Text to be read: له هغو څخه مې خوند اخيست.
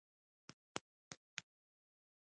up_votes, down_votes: 1, 2